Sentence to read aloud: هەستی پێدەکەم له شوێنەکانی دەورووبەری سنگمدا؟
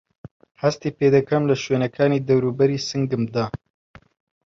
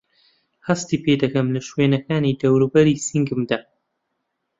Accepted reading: second